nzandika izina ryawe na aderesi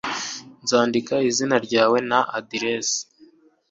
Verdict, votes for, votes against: accepted, 2, 0